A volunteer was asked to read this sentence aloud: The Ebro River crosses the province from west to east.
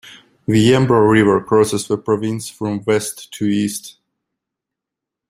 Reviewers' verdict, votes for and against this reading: rejected, 1, 2